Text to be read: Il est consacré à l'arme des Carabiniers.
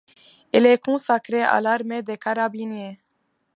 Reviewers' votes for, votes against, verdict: 0, 2, rejected